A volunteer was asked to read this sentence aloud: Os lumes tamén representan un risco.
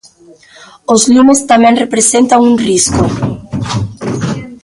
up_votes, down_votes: 2, 0